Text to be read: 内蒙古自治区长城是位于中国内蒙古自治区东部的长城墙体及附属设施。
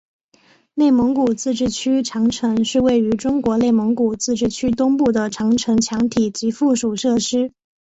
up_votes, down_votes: 2, 0